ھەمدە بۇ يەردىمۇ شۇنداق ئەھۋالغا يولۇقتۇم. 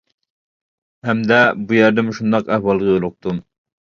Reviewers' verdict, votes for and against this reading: rejected, 0, 2